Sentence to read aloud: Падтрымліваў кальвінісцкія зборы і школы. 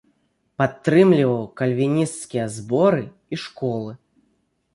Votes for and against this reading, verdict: 2, 0, accepted